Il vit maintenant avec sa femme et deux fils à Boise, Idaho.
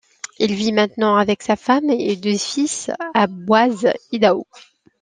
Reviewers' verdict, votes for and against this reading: accepted, 2, 0